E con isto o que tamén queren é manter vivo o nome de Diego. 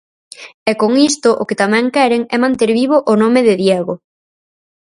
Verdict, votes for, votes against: accepted, 4, 0